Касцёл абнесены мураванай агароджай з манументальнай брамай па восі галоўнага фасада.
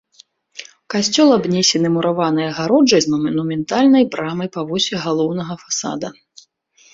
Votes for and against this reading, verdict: 1, 2, rejected